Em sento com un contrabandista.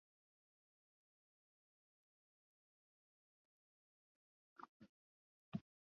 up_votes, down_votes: 0, 2